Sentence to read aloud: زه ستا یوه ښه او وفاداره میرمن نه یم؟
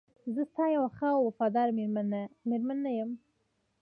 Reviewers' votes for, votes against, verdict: 2, 1, accepted